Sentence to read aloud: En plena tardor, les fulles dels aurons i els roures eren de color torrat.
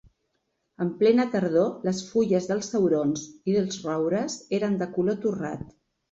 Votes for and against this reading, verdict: 2, 1, accepted